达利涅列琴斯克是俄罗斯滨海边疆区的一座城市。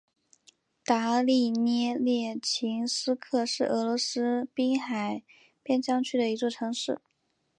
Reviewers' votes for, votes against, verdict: 2, 0, accepted